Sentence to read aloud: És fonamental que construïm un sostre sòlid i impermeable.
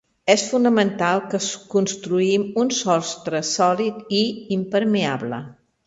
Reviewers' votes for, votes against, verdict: 0, 2, rejected